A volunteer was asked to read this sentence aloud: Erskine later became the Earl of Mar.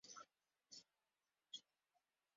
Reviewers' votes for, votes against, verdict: 0, 2, rejected